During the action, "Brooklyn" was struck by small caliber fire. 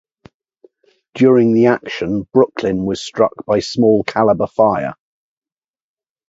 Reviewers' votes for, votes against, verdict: 2, 0, accepted